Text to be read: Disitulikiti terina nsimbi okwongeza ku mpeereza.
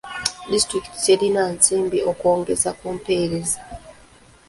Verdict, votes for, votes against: accepted, 2, 0